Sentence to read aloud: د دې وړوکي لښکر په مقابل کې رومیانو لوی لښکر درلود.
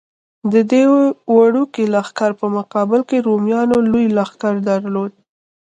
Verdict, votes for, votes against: rejected, 1, 2